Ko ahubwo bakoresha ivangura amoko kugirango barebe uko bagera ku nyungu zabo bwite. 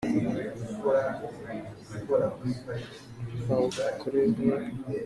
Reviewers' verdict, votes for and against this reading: rejected, 0, 2